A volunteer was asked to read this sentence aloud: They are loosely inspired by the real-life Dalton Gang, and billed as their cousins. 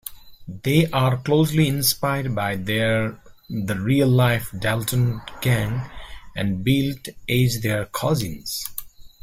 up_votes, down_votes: 0, 2